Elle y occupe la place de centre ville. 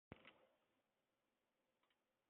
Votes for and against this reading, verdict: 0, 2, rejected